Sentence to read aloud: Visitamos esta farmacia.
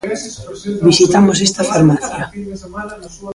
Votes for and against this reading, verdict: 1, 2, rejected